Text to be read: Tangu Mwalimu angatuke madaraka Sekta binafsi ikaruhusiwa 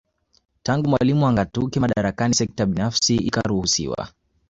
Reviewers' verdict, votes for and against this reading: accepted, 2, 0